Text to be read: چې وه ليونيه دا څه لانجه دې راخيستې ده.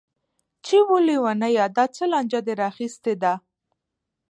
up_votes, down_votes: 1, 2